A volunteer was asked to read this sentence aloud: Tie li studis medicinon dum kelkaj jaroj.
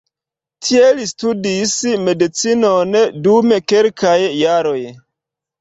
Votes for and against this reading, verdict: 2, 1, accepted